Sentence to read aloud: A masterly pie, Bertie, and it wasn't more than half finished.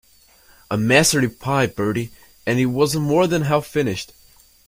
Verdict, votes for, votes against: rejected, 1, 2